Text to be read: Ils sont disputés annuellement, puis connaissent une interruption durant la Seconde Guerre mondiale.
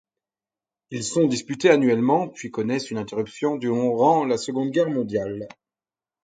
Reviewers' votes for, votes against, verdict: 2, 4, rejected